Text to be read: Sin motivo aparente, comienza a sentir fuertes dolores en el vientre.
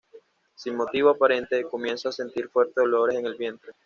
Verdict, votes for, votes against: rejected, 1, 2